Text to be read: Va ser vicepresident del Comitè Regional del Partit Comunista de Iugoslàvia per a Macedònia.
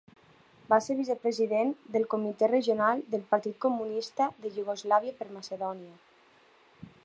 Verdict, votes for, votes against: rejected, 2, 3